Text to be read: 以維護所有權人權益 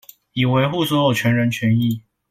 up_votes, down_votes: 2, 0